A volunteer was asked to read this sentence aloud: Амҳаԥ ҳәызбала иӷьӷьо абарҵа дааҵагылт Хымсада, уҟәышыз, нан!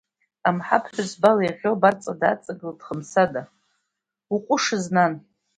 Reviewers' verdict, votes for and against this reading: accepted, 2, 0